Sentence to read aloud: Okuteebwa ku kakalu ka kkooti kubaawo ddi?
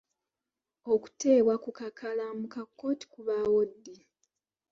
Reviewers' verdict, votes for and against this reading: rejected, 0, 2